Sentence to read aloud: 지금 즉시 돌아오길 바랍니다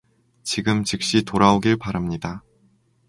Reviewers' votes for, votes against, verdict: 2, 0, accepted